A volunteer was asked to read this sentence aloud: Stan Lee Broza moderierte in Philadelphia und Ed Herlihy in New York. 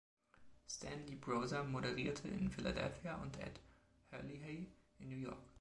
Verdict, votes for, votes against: rejected, 1, 2